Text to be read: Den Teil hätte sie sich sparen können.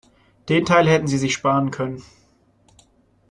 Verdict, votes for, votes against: rejected, 0, 2